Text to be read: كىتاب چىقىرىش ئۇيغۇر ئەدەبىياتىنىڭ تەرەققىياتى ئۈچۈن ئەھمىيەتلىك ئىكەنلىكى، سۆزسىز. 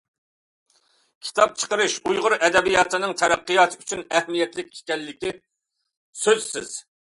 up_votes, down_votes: 2, 0